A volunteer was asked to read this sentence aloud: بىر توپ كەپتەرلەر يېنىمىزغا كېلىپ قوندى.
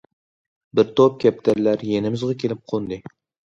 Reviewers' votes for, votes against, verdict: 2, 0, accepted